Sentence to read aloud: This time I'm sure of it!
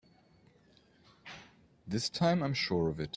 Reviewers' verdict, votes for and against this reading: accepted, 2, 0